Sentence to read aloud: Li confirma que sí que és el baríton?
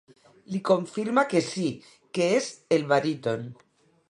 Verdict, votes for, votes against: rejected, 0, 2